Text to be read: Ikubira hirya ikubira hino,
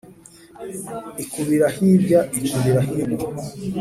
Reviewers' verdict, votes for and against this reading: accepted, 4, 0